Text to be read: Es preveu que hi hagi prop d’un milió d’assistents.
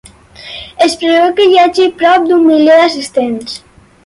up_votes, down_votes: 4, 0